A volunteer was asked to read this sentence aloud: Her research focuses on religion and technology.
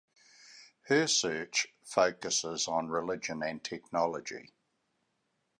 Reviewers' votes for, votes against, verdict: 1, 2, rejected